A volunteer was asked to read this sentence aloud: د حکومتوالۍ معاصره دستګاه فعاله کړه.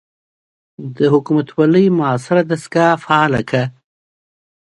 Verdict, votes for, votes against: accepted, 2, 0